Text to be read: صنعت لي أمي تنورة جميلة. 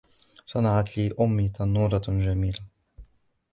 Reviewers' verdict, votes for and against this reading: accepted, 2, 0